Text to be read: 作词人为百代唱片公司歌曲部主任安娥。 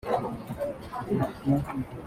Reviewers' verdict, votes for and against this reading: rejected, 0, 2